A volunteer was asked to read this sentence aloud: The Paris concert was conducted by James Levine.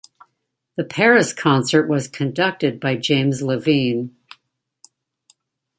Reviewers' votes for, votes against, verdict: 2, 0, accepted